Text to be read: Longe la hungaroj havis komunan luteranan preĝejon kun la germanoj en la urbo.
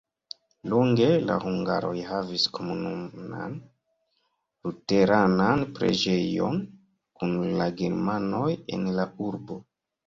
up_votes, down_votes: 1, 2